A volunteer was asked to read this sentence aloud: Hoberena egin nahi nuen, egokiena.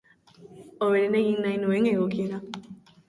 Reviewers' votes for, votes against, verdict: 2, 0, accepted